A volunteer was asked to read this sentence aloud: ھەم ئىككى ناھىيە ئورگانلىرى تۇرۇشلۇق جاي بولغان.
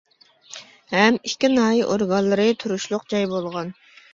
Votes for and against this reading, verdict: 2, 0, accepted